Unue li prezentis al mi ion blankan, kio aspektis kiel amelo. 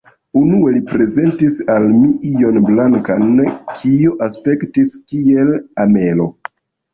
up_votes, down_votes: 1, 2